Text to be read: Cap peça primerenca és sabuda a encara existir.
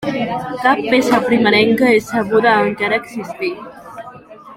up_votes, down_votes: 2, 0